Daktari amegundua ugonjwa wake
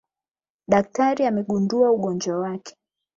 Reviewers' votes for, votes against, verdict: 8, 0, accepted